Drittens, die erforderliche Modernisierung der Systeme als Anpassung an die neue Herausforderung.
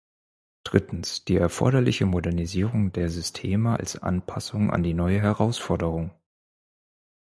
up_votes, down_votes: 4, 0